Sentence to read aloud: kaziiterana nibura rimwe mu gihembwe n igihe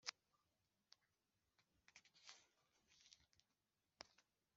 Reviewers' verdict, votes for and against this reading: rejected, 1, 2